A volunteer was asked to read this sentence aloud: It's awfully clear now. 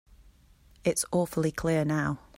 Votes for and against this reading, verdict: 2, 0, accepted